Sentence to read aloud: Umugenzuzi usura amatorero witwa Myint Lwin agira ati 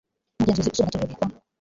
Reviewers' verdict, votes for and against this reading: rejected, 1, 2